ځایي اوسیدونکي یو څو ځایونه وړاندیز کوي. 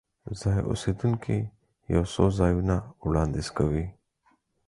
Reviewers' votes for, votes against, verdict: 4, 0, accepted